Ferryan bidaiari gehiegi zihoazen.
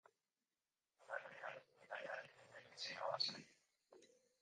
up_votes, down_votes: 0, 2